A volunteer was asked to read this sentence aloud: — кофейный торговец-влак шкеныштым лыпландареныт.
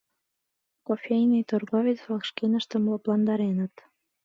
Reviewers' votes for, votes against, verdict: 2, 0, accepted